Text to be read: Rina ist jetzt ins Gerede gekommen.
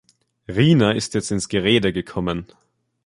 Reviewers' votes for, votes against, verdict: 2, 0, accepted